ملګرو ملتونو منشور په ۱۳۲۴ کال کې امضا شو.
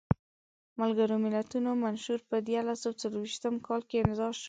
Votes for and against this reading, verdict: 0, 2, rejected